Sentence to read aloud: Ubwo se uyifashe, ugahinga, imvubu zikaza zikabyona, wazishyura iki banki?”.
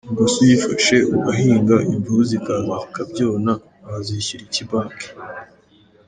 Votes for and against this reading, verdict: 2, 0, accepted